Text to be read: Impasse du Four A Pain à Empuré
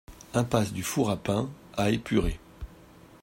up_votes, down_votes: 0, 2